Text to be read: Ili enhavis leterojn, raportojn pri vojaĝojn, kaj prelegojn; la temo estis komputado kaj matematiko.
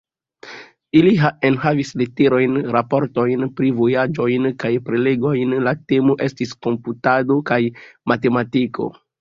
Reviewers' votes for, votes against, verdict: 2, 0, accepted